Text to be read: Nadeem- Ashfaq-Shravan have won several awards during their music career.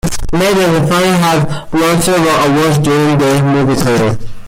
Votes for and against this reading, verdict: 1, 2, rejected